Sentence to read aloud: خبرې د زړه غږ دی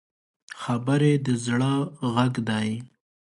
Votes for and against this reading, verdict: 2, 0, accepted